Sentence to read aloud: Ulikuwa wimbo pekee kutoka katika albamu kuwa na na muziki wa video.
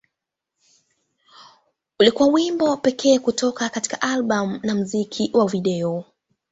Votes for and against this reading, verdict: 3, 1, accepted